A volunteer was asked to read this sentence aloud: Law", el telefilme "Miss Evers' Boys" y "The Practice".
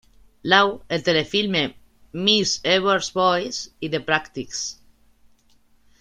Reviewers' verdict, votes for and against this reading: rejected, 1, 2